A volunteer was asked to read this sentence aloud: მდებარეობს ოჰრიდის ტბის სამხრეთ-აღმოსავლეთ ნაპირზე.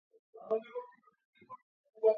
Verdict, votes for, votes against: rejected, 0, 2